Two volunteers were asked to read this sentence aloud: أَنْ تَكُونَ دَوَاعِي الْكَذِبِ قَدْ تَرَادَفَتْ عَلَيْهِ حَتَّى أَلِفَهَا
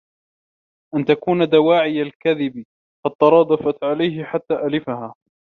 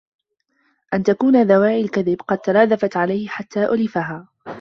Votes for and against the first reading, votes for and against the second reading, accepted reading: 2, 0, 0, 2, first